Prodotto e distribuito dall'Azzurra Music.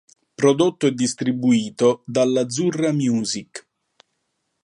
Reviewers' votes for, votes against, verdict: 2, 0, accepted